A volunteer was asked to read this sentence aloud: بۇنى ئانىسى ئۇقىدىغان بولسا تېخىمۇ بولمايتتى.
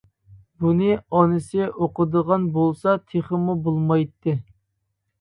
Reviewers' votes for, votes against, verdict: 1, 2, rejected